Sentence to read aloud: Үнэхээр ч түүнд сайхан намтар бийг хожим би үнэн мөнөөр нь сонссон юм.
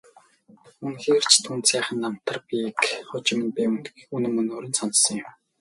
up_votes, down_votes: 2, 4